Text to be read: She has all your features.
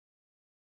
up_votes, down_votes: 0, 2